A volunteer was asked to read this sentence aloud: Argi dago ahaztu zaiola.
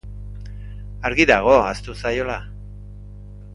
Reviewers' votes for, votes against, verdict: 3, 0, accepted